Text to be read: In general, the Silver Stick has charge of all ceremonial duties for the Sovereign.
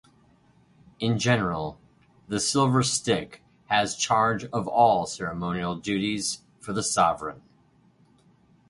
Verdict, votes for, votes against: accepted, 4, 0